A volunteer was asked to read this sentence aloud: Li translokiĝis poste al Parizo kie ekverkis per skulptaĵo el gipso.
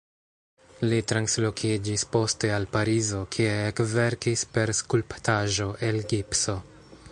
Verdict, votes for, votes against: rejected, 0, 2